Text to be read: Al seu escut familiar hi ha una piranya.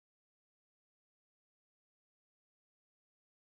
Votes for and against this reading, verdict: 0, 2, rejected